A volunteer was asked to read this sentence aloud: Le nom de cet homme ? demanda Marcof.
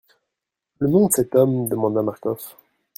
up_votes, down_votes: 0, 2